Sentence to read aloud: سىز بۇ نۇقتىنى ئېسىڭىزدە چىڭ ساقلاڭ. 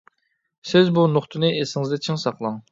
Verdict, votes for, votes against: accepted, 2, 0